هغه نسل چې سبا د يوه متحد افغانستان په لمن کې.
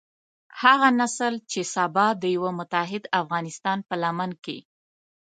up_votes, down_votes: 2, 0